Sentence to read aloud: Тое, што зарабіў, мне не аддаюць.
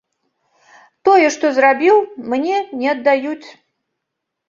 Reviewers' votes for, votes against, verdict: 0, 2, rejected